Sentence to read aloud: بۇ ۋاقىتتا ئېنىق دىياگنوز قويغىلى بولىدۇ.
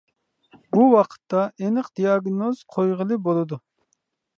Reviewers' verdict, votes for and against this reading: accepted, 2, 0